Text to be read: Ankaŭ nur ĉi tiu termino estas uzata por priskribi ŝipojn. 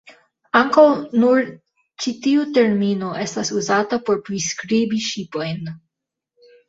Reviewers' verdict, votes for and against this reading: accepted, 2, 1